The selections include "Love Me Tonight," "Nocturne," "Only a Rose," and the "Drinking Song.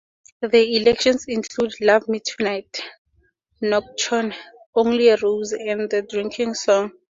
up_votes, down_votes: 2, 2